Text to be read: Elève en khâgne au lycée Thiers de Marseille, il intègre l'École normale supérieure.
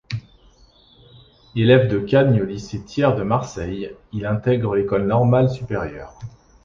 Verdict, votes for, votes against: rejected, 0, 2